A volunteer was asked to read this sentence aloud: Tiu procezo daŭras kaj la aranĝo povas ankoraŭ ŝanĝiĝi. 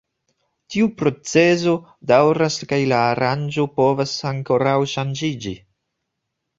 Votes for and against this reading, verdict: 2, 0, accepted